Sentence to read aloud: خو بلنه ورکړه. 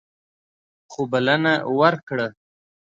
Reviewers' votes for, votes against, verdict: 2, 0, accepted